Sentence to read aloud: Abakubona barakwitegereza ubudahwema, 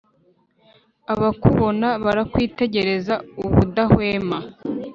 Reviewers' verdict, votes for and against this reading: accepted, 3, 0